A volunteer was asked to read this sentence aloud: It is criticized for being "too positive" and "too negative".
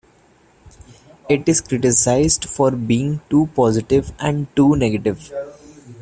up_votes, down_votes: 2, 1